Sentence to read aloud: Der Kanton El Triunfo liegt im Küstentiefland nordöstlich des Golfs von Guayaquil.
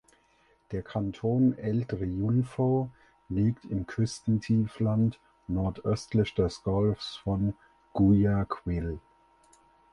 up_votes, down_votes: 4, 2